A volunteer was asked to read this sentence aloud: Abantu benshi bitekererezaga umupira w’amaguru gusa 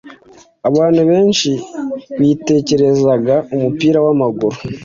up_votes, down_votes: 1, 2